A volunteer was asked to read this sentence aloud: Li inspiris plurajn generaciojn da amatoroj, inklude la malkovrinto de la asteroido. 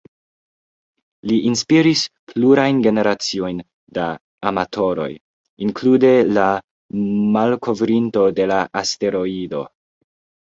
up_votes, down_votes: 2, 0